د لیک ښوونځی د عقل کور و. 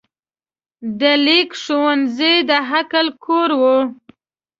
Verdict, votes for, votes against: accepted, 2, 0